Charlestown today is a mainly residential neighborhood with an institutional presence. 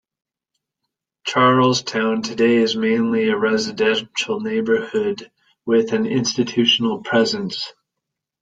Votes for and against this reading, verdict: 0, 2, rejected